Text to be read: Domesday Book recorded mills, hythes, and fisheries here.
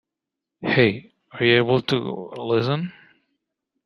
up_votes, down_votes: 1, 2